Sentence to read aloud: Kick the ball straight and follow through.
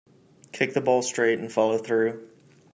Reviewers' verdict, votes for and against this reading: accepted, 2, 0